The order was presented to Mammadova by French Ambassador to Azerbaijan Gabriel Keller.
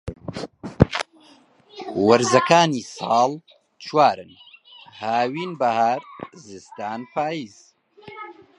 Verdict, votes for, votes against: rejected, 0, 2